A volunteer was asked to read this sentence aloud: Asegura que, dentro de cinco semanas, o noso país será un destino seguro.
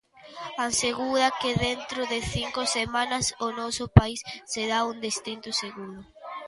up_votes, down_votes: 0, 2